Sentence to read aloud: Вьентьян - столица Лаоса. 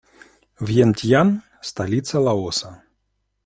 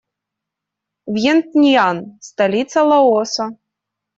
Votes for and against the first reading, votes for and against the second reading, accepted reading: 2, 0, 1, 2, first